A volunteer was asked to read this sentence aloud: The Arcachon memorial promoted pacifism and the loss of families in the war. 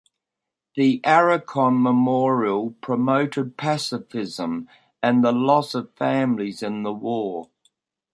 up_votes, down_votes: 0, 2